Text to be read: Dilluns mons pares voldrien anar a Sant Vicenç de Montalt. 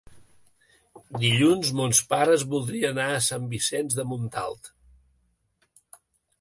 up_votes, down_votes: 0, 2